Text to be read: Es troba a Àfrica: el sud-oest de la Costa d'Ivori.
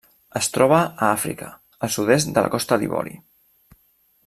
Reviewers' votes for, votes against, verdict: 1, 2, rejected